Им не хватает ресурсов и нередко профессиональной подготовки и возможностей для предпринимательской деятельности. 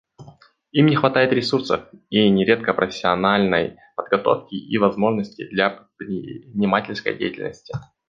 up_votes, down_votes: 1, 2